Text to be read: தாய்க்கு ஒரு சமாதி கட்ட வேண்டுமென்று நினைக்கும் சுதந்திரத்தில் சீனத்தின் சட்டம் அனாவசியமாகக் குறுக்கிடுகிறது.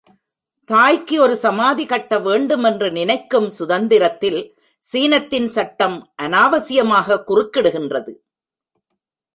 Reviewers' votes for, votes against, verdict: 0, 2, rejected